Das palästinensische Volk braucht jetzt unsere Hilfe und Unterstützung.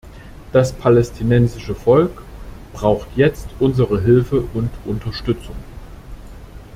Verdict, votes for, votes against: accepted, 2, 0